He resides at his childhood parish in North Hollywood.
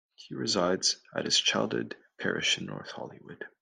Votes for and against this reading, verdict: 2, 0, accepted